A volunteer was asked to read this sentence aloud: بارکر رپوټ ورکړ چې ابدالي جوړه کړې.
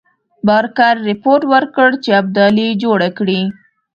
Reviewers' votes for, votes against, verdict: 2, 0, accepted